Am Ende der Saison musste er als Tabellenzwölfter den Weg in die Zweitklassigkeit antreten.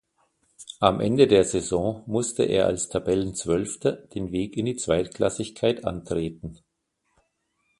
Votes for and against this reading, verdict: 2, 0, accepted